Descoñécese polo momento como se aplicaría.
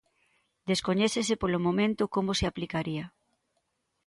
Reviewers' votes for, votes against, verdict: 2, 0, accepted